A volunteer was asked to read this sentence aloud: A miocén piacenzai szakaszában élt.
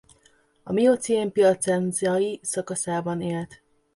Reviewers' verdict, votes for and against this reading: rejected, 0, 2